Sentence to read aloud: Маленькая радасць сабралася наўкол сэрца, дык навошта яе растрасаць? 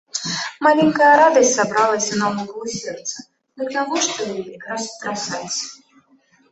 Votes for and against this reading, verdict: 0, 2, rejected